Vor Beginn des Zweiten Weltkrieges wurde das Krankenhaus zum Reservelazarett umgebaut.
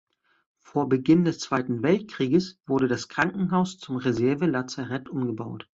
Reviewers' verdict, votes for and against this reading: accepted, 2, 0